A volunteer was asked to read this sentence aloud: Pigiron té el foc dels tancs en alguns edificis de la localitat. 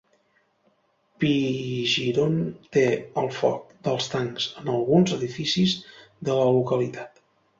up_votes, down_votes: 1, 2